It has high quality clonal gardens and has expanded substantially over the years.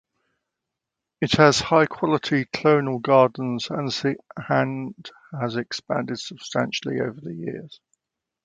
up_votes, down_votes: 1, 2